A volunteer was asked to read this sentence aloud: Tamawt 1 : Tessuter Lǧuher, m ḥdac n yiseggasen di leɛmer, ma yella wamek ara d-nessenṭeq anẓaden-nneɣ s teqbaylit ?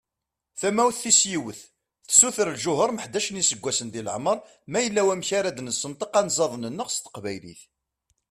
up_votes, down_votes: 0, 2